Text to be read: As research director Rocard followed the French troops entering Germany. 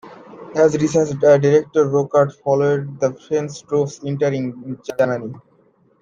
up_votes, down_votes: 0, 2